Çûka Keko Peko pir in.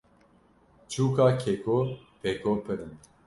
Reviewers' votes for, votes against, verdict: 2, 1, accepted